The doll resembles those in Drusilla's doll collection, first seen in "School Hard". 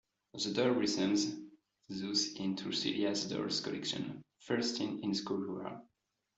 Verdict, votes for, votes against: rejected, 1, 2